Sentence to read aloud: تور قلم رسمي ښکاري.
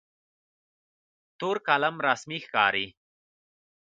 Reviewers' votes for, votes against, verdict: 2, 0, accepted